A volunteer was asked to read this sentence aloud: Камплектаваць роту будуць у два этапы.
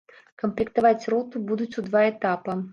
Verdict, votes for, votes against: rejected, 1, 3